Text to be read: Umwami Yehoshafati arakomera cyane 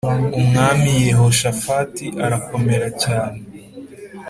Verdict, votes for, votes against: accepted, 3, 0